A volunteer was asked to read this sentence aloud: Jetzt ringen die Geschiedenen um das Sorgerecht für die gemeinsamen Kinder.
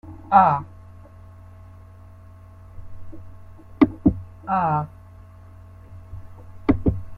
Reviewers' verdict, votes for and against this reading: rejected, 0, 2